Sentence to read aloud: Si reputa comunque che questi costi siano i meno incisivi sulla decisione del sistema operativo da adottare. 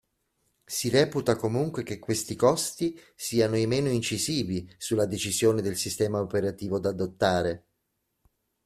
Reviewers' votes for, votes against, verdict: 2, 0, accepted